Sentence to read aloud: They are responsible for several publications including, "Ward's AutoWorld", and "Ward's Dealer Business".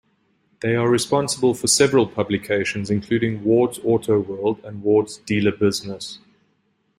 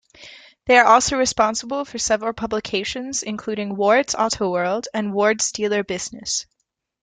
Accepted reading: first